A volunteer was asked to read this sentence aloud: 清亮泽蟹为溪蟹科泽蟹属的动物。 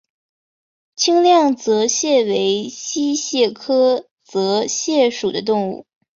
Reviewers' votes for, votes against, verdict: 2, 0, accepted